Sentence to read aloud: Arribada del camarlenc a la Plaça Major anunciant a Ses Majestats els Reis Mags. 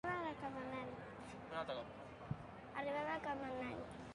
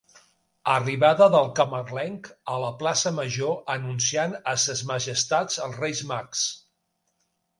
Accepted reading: second